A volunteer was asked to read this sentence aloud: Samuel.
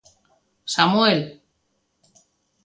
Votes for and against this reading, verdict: 3, 0, accepted